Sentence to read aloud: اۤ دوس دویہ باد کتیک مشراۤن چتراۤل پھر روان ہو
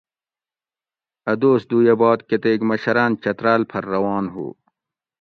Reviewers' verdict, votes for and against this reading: accepted, 2, 0